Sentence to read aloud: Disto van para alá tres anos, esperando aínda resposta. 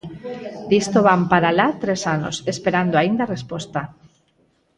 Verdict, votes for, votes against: accepted, 4, 0